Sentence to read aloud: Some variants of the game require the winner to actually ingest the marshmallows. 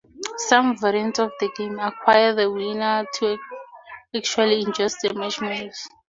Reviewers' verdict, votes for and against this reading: accepted, 2, 0